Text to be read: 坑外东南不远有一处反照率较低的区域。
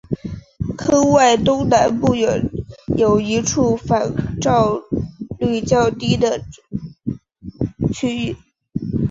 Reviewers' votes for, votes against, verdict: 2, 3, rejected